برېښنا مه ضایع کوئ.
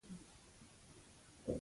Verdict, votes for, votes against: rejected, 0, 2